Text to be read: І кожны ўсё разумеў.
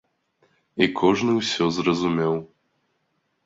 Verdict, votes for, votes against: rejected, 0, 2